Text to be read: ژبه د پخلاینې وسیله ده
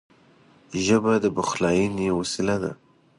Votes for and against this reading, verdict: 2, 0, accepted